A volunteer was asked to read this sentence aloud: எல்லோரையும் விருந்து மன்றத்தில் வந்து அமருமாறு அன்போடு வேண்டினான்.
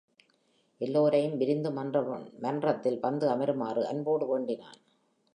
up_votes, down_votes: 4, 1